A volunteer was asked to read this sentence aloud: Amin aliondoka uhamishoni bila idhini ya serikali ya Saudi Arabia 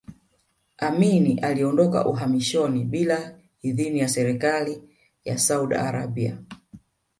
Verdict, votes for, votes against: rejected, 0, 2